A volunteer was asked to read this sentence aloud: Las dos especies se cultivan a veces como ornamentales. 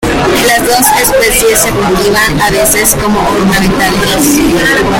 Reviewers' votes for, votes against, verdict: 0, 2, rejected